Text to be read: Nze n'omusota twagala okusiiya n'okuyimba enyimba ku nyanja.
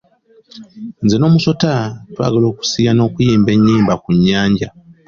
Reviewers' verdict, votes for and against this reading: accepted, 2, 0